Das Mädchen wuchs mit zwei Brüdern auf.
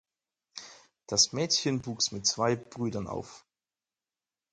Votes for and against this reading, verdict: 4, 0, accepted